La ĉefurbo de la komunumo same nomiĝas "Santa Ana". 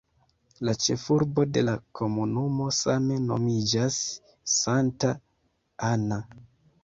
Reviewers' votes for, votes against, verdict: 2, 1, accepted